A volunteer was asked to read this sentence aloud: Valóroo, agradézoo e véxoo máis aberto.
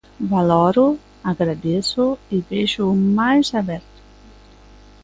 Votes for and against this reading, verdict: 2, 0, accepted